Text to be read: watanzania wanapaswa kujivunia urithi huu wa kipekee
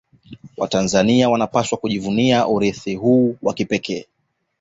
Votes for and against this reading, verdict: 2, 0, accepted